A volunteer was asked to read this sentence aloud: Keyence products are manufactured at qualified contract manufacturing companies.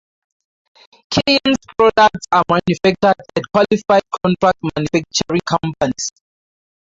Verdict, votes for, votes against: rejected, 0, 2